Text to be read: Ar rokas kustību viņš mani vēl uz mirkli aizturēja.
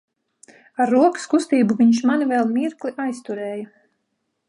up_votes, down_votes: 1, 2